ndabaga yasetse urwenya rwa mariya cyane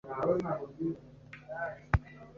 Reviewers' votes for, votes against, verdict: 0, 2, rejected